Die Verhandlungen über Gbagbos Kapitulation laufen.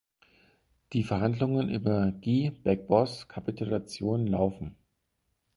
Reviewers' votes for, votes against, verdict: 2, 4, rejected